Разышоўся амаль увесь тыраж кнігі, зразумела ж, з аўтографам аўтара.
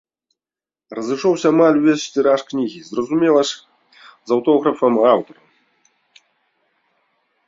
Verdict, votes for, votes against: accepted, 2, 0